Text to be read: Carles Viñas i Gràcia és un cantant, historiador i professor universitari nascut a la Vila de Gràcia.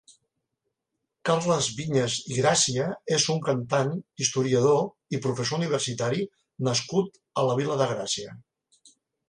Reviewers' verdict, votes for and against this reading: accepted, 2, 0